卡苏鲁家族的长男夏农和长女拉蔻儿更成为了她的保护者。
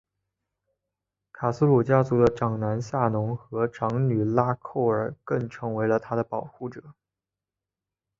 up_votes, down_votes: 4, 0